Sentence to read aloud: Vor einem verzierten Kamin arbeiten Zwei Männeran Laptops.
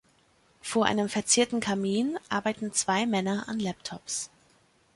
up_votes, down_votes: 2, 1